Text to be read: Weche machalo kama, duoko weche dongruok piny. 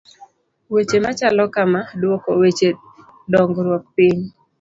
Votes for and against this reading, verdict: 2, 0, accepted